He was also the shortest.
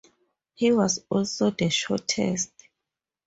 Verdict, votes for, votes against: accepted, 2, 0